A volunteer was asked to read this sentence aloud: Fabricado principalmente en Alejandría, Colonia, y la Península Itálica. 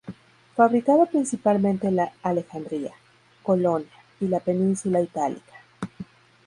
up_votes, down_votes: 0, 2